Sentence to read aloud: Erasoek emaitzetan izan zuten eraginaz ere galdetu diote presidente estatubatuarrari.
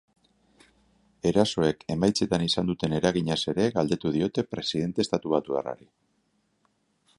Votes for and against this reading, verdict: 3, 0, accepted